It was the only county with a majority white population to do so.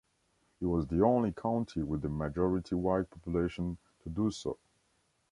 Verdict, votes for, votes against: accepted, 2, 0